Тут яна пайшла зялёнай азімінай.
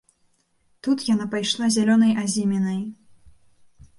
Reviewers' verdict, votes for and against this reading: accepted, 2, 0